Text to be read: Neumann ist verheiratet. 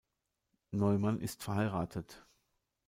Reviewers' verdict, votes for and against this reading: rejected, 1, 2